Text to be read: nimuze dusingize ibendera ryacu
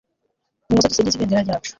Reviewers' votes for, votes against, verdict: 1, 2, rejected